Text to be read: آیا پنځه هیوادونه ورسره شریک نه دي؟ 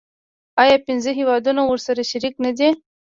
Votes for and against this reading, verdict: 1, 2, rejected